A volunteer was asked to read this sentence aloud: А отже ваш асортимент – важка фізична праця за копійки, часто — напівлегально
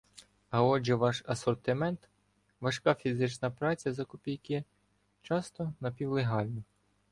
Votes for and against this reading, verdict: 2, 0, accepted